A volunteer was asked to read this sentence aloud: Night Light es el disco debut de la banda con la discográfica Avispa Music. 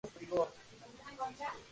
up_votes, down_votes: 0, 2